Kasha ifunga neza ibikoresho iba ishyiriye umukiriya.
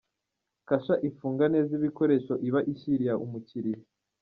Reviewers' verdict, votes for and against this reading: rejected, 0, 2